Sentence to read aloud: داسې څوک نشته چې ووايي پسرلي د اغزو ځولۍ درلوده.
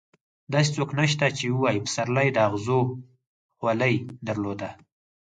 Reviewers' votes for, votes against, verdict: 2, 4, rejected